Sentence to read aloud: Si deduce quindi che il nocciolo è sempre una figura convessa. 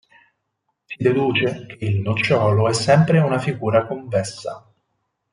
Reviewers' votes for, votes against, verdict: 2, 4, rejected